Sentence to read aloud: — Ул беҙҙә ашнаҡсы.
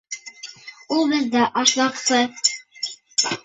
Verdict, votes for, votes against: rejected, 1, 2